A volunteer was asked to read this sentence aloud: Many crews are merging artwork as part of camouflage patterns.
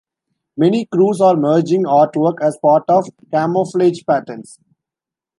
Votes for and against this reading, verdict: 1, 2, rejected